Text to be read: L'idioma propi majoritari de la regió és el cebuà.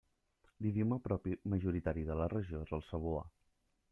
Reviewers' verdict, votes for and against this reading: accepted, 2, 0